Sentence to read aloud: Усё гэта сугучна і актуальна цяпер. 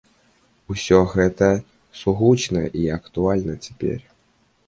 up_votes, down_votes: 0, 2